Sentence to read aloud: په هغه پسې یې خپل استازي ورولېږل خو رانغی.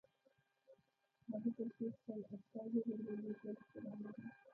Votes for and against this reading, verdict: 1, 2, rejected